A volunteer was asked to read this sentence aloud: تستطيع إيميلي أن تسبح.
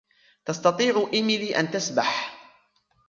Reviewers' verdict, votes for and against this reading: rejected, 0, 3